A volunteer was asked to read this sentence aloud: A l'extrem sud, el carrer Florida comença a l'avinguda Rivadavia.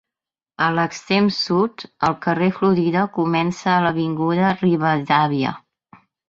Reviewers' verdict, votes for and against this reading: rejected, 2, 3